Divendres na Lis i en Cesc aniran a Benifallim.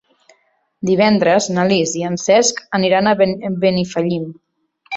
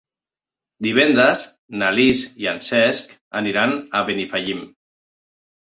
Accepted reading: second